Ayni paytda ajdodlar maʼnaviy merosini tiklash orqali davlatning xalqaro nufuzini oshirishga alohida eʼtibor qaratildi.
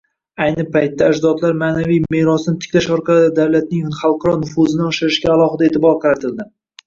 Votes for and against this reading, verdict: 1, 2, rejected